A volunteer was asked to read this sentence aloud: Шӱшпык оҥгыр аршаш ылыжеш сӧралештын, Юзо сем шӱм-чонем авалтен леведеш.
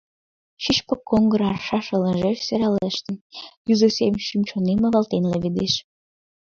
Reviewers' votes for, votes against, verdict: 2, 0, accepted